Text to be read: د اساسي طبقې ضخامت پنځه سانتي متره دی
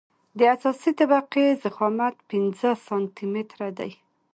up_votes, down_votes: 2, 0